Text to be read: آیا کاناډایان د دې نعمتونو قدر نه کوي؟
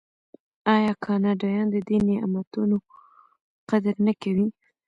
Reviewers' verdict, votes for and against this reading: rejected, 1, 2